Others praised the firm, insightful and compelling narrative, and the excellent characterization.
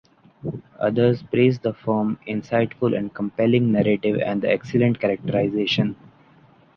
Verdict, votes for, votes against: accepted, 2, 0